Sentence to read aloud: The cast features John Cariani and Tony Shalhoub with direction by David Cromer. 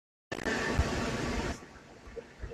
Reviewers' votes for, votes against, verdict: 0, 2, rejected